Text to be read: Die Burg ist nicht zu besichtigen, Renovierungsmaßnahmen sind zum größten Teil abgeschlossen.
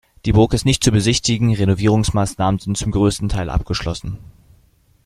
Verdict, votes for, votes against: accepted, 2, 0